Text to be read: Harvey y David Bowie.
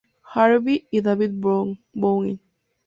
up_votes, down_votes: 0, 2